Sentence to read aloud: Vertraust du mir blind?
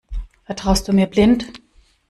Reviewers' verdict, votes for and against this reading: accepted, 2, 0